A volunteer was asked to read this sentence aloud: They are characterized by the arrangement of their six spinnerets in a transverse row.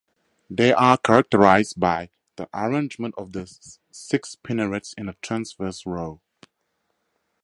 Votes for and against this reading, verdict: 4, 0, accepted